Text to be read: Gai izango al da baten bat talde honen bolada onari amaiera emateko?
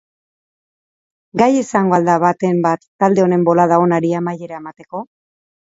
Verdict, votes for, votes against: accepted, 2, 0